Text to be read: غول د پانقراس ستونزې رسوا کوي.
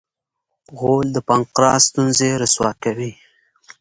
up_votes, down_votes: 2, 0